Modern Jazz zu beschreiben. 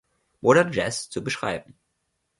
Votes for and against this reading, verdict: 2, 0, accepted